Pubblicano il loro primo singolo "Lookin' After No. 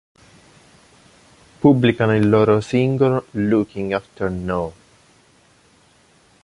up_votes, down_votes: 3, 6